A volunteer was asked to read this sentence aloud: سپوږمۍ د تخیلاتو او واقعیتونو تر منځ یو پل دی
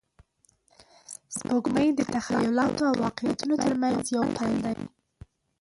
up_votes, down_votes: 0, 2